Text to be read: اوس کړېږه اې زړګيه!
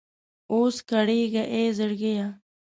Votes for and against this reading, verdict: 2, 0, accepted